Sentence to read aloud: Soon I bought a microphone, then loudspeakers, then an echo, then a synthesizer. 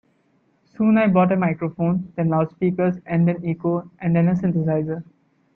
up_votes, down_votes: 2, 1